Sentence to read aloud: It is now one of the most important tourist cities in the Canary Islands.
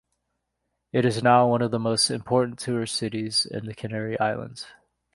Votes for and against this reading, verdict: 3, 0, accepted